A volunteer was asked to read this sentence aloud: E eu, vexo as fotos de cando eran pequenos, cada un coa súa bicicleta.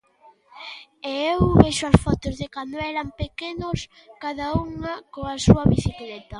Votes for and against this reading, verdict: 0, 2, rejected